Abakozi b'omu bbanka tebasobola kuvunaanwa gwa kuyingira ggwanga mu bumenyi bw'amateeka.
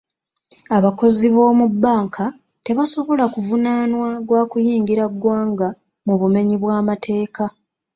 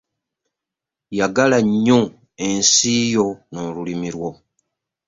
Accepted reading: first